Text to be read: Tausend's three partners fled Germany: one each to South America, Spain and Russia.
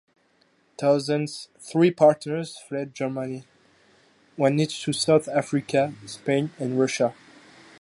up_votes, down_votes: 0, 2